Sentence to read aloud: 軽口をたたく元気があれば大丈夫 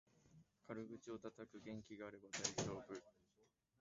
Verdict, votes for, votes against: rejected, 0, 2